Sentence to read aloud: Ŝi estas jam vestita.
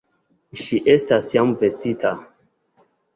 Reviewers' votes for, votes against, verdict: 2, 0, accepted